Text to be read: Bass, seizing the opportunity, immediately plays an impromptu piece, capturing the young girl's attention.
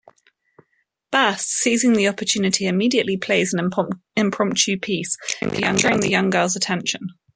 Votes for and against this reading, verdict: 0, 2, rejected